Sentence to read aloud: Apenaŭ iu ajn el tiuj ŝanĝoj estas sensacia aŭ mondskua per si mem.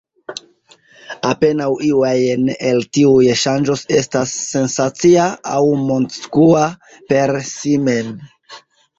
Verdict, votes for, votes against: accepted, 2, 0